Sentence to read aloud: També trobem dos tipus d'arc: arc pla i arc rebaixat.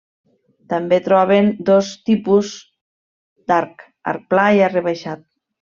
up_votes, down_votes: 0, 2